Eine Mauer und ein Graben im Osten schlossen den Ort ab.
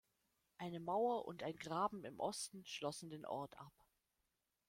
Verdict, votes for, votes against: rejected, 1, 2